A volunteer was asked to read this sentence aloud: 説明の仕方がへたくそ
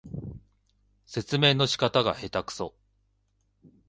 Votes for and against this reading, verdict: 2, 0, accepted